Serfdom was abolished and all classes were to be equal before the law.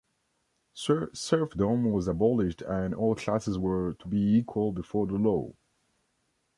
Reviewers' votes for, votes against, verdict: 0, 2, rejected